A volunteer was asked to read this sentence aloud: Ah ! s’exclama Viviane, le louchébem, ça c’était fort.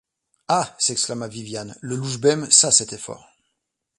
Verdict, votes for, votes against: accepted, 2, 0